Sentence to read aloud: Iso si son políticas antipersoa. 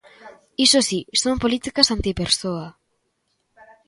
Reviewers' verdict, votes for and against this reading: rejected, 0, 2